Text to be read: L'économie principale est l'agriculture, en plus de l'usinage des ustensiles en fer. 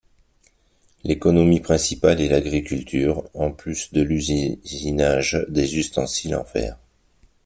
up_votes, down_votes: 2, 1